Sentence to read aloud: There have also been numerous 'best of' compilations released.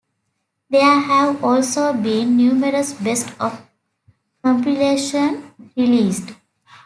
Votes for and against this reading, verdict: 1, 2, rejected